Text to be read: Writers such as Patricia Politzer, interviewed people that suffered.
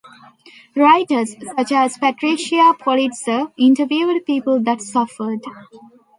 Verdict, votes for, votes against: rejected, 1, 2